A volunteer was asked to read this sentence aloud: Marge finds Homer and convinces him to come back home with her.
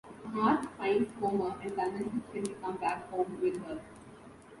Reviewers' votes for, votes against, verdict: 2, 0, accepted